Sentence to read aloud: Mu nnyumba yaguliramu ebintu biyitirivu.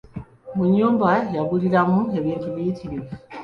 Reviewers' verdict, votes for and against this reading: accepted, 3, 0